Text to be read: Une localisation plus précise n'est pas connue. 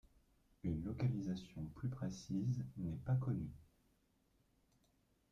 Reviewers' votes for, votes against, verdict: 0, 2, rejected